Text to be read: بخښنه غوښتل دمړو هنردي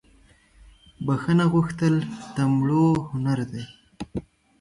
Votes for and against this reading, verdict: 2, 1, accepted